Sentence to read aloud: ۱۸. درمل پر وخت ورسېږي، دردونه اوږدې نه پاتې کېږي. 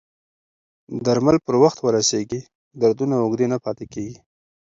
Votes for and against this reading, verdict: 0, 2, rejected